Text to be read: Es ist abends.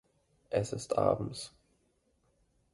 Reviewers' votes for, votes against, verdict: 2, 0, accepted